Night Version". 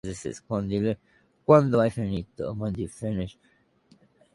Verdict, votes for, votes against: rejected, 0, 2